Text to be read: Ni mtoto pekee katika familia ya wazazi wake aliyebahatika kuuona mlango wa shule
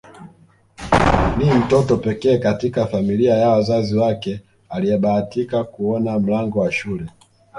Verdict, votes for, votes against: rejected, 0, 2